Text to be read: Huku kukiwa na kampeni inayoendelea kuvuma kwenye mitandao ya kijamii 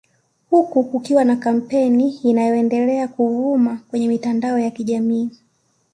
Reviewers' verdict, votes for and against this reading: accepted, 2, 0